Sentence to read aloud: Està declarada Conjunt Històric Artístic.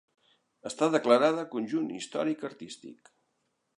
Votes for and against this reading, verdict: 3, 0, accepted